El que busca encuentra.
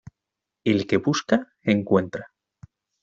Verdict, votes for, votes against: accepted, 2, 0